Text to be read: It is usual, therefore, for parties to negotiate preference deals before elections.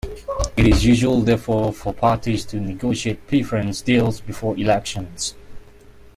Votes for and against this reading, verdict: 0, 2, rejected